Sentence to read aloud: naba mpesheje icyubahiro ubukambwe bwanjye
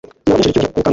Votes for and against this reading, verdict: 1, 2, rejected